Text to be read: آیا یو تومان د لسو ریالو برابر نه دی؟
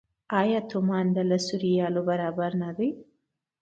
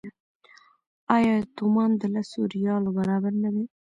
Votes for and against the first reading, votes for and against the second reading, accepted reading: 2, 0, 0, 2, first